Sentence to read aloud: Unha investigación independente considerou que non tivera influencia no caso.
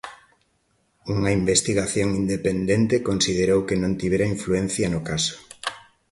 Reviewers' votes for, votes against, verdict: 2, 0, accepted